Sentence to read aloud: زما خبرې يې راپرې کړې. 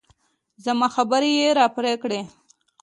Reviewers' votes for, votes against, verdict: 2, 0, accepted